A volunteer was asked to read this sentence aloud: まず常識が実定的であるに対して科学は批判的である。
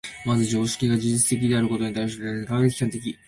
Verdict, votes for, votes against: rejected, 0, 2